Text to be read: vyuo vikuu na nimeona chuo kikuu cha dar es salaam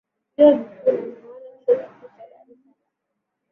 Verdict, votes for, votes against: rejected, 0, 2